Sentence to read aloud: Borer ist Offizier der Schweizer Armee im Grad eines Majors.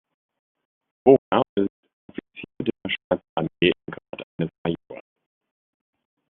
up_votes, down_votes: 0, 2